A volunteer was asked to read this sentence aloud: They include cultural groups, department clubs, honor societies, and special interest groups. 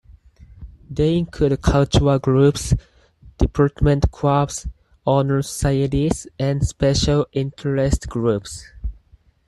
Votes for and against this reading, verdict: 4, 2, accepted